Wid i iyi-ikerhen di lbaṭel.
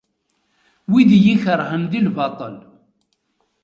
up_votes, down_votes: 2, 0